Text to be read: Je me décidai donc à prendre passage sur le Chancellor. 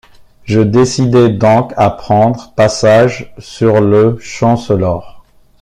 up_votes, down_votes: 0, 2